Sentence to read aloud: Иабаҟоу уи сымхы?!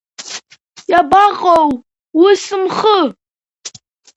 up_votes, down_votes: 2, 0